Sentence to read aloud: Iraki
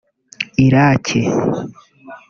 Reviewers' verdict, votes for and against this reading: rejected, 0, 2